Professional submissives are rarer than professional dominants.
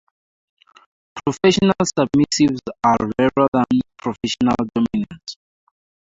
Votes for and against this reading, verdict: 2, 0, accepted